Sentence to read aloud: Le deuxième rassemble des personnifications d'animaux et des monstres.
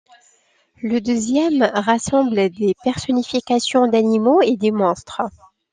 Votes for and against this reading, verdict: 2, 0, accepted